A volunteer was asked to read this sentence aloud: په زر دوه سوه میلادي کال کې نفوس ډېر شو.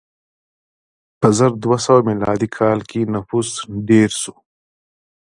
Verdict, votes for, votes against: accepted, 3, 1